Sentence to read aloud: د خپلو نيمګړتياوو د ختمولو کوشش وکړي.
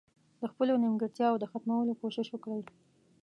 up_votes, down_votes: 0, 2